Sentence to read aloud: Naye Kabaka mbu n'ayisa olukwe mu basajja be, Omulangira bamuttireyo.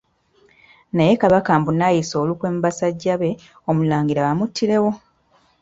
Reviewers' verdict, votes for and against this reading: rejected, 1, 2